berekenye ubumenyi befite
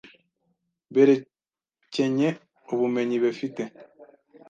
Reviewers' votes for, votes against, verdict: 1, 2, rejected